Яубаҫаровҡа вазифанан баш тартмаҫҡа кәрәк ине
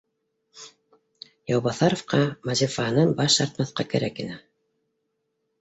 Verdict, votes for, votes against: rejected, 1, 2